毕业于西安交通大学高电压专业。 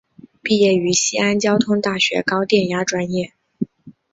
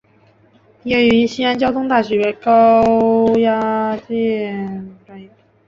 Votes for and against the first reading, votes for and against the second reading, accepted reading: 6, 0, 0, 2, first